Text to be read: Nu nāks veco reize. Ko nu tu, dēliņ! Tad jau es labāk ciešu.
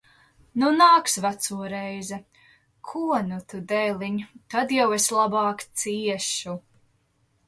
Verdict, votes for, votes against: accepted, 2, 0